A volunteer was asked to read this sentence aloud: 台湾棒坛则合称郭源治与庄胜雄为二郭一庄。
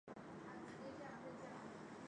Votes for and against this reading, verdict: 0, 4, rejected